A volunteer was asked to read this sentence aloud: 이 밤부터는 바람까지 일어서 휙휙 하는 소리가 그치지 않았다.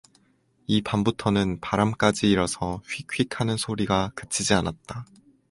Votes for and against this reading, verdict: 2, 2, rejected